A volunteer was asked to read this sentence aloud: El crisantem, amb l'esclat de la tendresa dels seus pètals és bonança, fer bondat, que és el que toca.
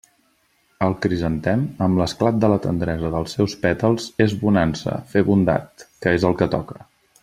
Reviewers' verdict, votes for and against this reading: accepted, 2, 0